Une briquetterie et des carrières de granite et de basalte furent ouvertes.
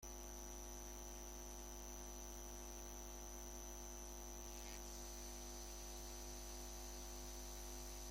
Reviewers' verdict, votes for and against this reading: rejected, 0, 2